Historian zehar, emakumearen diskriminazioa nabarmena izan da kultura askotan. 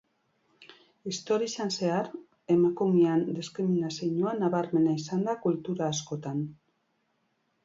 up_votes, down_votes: 3, 0